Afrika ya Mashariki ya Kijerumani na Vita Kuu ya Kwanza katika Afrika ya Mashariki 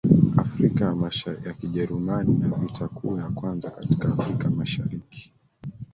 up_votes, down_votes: 2, 1